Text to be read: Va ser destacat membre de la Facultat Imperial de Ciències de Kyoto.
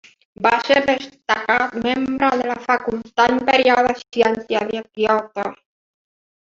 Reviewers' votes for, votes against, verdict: 2, 1, accepted